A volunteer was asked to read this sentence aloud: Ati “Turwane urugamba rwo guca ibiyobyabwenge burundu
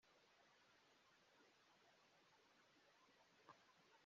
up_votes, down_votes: 0, 2